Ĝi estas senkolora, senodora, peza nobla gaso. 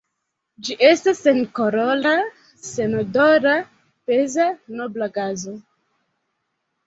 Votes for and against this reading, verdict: 1, 2, rejected